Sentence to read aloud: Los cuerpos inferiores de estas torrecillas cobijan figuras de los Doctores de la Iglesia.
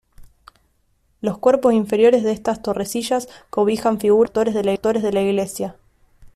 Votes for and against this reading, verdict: 0, 2, rejected